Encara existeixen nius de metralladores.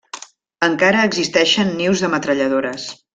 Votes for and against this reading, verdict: 3, 0, accepted